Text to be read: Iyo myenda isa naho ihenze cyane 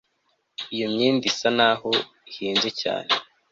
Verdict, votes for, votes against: accepted, 2, 0